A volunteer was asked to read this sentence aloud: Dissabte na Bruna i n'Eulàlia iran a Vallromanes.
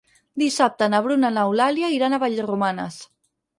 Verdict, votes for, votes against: accepted, 6, 0